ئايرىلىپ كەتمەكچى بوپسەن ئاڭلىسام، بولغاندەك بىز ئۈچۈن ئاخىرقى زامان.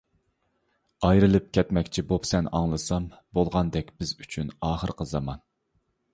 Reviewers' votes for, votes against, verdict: 2, 0, accepted